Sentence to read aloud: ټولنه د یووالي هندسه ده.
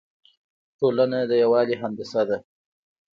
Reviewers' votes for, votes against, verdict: 2, 0, accepted